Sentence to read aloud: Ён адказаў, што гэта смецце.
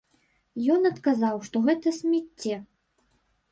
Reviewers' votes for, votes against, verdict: 0, 2, rejected